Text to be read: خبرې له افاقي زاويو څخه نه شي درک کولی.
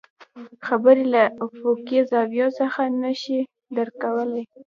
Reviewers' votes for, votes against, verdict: 0, 2, rejected